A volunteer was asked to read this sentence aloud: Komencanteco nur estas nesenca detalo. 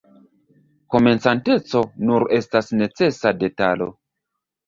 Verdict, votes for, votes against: rejected, 1, 2